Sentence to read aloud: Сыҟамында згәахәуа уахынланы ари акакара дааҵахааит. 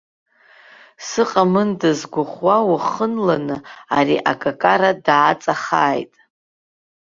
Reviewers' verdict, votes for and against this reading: rejected, 0, 2